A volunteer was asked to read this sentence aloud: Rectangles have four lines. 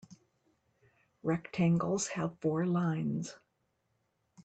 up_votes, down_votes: 2, 0